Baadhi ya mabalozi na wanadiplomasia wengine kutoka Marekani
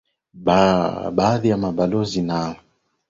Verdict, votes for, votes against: rejected, 0, 2